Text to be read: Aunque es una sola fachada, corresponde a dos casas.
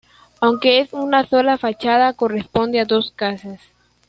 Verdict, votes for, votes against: accepted, 2, 0